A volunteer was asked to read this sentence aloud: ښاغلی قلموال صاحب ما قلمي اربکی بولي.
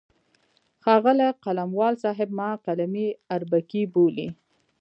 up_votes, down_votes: 2, 0